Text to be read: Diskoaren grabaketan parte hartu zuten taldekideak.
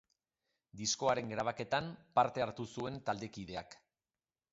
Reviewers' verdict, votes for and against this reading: rejected, 0, 2